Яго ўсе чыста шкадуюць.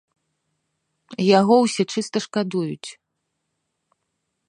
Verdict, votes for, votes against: accepted, 2, 0